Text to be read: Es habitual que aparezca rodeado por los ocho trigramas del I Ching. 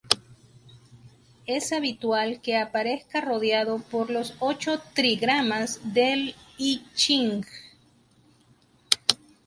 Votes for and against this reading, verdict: 0, 2, rejected